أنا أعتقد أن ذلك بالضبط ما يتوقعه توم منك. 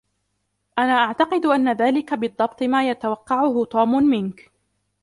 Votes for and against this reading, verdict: 1, 2, rejected